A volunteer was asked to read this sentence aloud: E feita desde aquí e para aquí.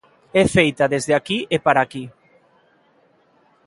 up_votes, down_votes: 2, 0